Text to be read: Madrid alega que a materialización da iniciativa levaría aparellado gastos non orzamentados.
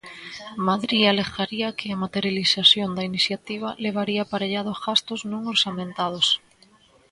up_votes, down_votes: 2, 1